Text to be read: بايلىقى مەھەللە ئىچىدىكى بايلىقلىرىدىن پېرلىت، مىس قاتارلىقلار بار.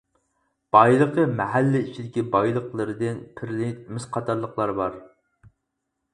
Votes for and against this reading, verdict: 0, 4, rejected